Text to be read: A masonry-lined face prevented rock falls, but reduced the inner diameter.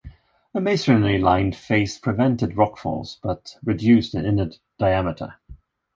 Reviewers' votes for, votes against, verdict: 2, 0, accepted